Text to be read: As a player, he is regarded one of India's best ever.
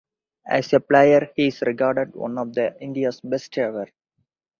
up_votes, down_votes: 0, 4